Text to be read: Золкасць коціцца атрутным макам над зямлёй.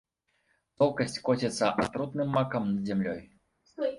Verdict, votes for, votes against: rejected, 0, 2